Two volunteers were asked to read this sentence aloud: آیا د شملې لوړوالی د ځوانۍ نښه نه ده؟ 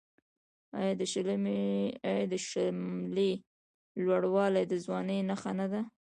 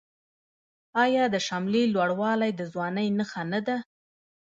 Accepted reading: second